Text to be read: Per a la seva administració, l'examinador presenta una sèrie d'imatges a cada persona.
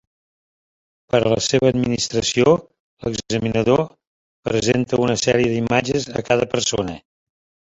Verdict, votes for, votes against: accepted, 3, 0